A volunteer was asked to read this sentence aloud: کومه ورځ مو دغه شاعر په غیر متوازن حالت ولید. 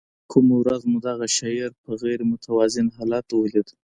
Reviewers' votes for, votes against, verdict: 2, 0, accepted